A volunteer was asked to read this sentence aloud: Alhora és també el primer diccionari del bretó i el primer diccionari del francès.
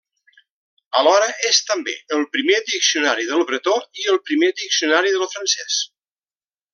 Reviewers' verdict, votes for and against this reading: accepted, 2, 0